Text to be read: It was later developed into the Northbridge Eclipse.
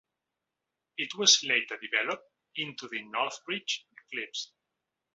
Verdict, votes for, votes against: accepted, 2, 0